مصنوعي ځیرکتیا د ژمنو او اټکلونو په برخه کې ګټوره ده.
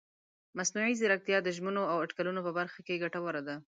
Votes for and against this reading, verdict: 2, 0, accepted